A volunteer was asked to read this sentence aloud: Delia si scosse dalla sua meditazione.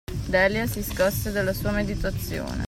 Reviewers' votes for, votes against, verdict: 2, 1, accepted